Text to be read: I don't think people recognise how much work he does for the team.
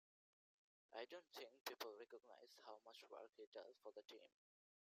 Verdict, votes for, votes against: rejected, 0, 2